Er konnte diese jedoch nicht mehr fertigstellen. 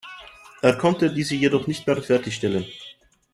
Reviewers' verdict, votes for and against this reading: accepted, 2, 0